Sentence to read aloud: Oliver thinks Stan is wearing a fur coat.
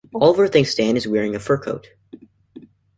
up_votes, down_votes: 2, 0